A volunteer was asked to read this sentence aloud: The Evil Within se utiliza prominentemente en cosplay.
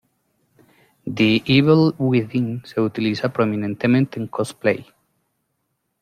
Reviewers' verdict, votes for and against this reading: accepted, 2, 0